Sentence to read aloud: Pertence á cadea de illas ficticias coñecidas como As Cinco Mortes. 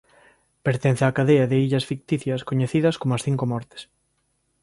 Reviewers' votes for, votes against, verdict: 2, 0, accepted